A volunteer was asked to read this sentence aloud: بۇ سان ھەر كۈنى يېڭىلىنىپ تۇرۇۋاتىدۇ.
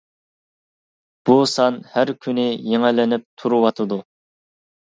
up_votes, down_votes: 2, 0